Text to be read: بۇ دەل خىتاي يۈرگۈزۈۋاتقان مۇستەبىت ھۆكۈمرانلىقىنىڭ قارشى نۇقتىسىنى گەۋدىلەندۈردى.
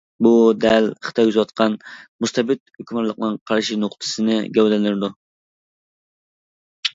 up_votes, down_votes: 0, 2